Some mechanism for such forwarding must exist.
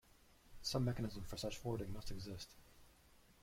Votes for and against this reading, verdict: 1, 2, rejected